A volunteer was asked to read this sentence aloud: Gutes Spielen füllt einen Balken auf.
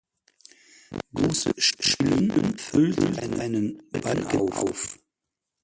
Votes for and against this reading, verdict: 0, 4, rejected